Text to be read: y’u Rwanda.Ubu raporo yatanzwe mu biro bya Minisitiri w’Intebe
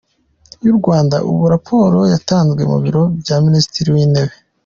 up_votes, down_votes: 2, 0